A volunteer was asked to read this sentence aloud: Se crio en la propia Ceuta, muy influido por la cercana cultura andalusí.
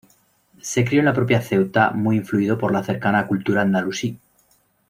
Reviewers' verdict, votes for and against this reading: accepted, 2, 0